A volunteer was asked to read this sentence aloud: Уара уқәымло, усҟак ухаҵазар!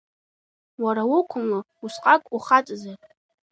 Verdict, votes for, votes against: accepted, 2, 0